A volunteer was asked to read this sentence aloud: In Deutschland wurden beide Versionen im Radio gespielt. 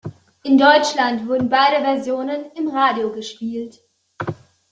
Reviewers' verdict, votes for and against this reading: accepted, 2, 0